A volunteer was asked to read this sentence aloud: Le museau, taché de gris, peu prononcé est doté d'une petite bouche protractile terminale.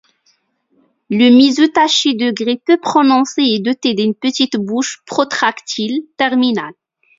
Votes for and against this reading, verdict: 2, 0, accepted